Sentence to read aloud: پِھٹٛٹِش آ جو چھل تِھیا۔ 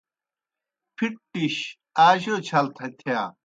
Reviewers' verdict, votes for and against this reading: rejected, 0, 2